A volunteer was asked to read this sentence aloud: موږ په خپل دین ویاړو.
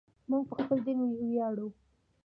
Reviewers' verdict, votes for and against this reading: accepted, 2, 0